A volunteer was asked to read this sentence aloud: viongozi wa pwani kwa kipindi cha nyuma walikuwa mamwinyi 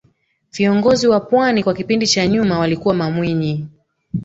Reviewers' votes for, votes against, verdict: 2, 1, accepted